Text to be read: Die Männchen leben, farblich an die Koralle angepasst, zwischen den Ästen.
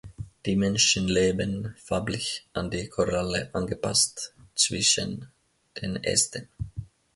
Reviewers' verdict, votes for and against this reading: accepted, 2, 0